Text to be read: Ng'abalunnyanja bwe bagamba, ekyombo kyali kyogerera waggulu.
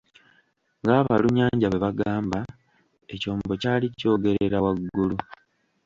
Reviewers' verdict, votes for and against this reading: rejected, 1, 2